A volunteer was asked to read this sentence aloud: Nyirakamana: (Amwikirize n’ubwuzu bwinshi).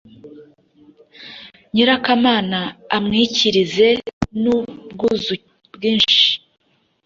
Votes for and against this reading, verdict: 1, 2, rejected